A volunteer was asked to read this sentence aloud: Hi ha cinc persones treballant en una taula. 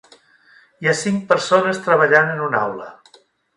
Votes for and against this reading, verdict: 0, 2, rejected